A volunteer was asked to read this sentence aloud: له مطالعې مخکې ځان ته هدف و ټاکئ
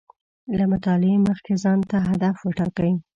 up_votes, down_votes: 2, 0